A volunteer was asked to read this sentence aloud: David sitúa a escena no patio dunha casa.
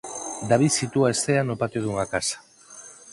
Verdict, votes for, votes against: rejected, 0, 4